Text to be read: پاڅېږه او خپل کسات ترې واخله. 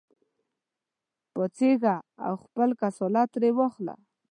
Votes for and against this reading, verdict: 1, 2, rejected